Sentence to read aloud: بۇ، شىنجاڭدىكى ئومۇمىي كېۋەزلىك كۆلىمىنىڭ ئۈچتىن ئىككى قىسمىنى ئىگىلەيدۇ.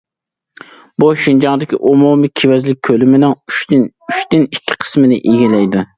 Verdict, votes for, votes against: rejected, 0, 2